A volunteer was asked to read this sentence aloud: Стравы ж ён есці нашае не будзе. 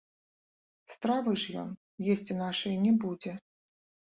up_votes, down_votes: 4, 0